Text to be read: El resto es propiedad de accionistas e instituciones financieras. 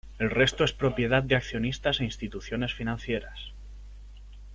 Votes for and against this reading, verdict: 2, 0, accepted